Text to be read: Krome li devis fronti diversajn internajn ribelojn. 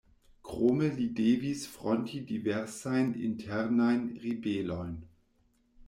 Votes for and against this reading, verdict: 2, 0, accepted